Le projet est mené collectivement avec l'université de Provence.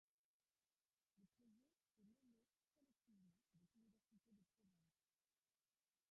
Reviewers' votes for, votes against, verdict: 0, 2, rejected